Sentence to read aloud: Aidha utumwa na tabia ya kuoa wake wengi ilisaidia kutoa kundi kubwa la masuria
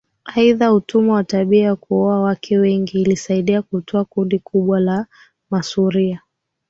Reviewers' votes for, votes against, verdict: 2, 4, rejected